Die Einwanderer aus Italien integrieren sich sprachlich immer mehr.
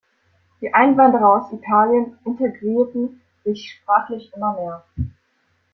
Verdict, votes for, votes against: accepted, 3, 0